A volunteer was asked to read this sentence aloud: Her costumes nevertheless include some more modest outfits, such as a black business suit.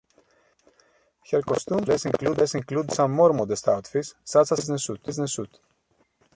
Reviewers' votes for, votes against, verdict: 1, 2, rejected